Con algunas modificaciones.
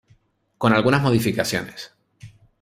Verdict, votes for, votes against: accepted, 2, 0